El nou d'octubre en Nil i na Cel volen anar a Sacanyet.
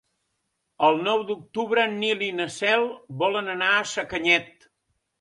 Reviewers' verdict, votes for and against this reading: accepted, 4, 0